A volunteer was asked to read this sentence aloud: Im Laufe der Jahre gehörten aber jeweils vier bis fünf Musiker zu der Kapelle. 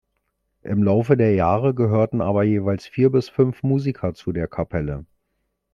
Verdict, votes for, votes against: accepted, 2, 0